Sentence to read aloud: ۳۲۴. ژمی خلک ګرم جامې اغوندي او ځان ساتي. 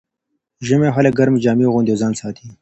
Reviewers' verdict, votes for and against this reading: rejected, 0, 2